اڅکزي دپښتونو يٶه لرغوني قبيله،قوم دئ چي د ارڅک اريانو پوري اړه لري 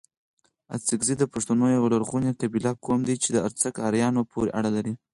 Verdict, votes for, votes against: accepted, 4, 2